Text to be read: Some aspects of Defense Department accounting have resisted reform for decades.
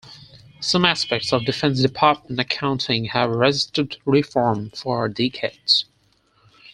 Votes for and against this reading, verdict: 2, 4, rejected